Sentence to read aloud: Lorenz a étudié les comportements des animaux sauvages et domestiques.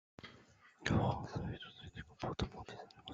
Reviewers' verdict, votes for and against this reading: rejected, 0, 2